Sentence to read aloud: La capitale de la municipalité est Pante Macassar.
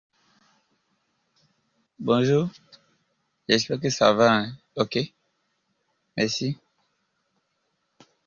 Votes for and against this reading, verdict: 0, 2, rejected